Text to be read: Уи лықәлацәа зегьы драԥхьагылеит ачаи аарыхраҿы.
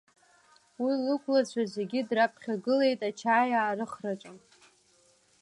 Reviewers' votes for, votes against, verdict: 2, 0, accepted